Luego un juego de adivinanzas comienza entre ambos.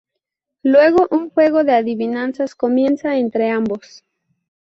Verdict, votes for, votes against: accepted, 2, 0